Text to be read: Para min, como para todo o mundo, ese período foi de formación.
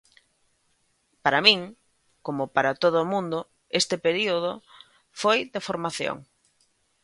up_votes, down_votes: 1, 2